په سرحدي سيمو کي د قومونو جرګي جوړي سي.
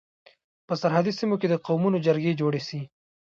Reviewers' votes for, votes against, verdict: 2, 0, accepted